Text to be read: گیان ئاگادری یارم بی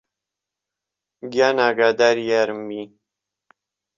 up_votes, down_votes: 2, 0